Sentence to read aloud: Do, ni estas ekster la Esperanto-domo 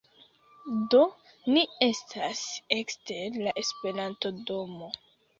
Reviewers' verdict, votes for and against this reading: rejected, 0, 2